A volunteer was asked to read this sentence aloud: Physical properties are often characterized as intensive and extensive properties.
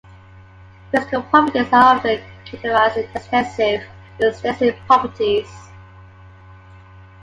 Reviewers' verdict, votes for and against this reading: rejected, 1, 2